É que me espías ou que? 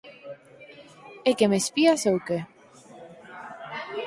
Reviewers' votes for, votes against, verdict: 4, 0, accepted